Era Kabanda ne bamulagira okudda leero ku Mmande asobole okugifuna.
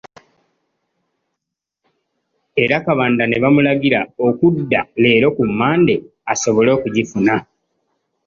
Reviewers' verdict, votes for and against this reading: accepted, 2, 1